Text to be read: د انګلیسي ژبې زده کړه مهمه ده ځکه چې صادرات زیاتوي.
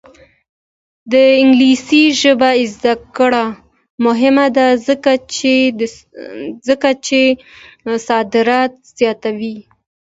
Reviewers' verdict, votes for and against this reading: rejected, 1, 2